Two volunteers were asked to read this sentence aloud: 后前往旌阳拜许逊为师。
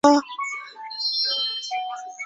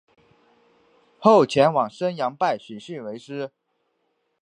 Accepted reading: second